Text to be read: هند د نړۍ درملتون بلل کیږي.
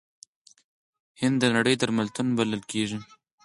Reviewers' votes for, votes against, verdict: 4, 2, accepted